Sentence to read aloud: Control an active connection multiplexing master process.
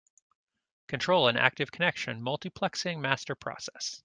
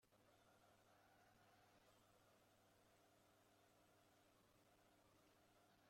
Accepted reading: first